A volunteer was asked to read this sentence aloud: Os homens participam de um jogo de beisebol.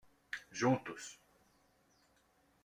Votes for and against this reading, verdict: 0, 2, rejected